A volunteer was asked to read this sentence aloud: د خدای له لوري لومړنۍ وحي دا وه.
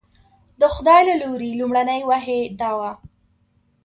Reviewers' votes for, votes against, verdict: 2, 0, accepted